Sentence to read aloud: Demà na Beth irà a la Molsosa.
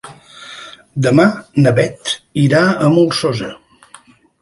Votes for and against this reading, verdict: 1, 2, rejected